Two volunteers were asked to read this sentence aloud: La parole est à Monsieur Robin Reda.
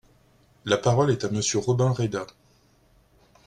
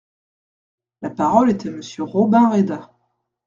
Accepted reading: first